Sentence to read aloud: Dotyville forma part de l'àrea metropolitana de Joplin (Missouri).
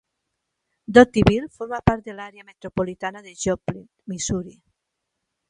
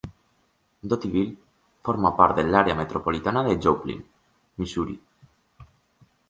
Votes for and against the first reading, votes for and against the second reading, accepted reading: 0, 2, 2, 0, second